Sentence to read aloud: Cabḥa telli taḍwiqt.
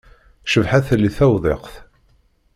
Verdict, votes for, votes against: rejected, 0, 2